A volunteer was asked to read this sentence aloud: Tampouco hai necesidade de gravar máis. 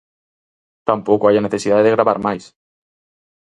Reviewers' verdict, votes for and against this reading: rejected, 0, 4